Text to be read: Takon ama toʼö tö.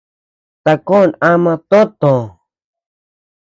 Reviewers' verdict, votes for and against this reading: accepted, 3, 0